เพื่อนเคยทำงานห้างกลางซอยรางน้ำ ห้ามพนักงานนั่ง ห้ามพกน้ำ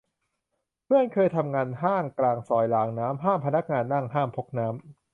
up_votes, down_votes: 3, 0